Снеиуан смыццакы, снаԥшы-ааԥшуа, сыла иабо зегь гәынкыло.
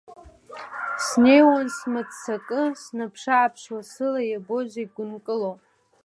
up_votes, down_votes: 2, 0